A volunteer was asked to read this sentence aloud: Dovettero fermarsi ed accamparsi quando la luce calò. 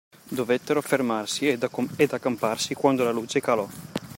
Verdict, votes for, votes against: rejected, 0, 2